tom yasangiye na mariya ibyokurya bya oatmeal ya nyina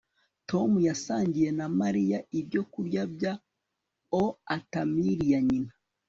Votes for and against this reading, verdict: 2, 1, accepted